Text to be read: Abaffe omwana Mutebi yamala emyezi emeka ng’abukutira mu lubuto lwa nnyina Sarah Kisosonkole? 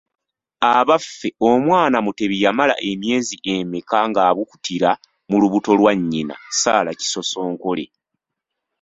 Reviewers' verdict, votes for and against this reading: accepted, 2, 0